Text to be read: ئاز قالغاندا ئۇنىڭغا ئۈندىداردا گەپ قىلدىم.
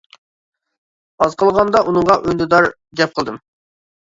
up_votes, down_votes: 0, 2